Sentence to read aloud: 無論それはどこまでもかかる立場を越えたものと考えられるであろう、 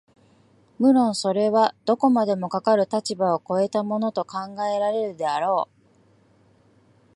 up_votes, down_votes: 2, 0